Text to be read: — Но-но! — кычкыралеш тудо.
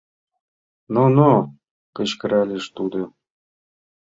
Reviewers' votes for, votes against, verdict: 2, 0, accepted